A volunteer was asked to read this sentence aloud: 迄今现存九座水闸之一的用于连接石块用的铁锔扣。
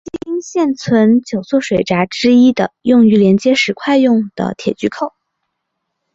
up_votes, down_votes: 0, 2